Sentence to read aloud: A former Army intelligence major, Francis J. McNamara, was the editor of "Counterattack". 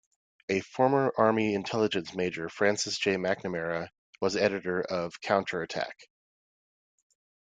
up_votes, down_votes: 2, 0